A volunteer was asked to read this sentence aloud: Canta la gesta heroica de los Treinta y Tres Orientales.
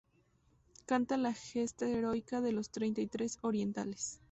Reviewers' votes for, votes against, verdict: 2, 0, accepted